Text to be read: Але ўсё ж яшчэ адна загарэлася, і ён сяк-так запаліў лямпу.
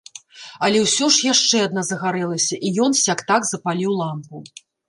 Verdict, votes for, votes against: rejected, 0, 2